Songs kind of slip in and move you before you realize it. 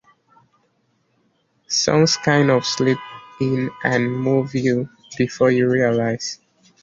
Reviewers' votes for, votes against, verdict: 1, 2, rejected